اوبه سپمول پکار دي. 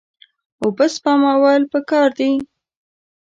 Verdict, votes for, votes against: accepted, 2, 0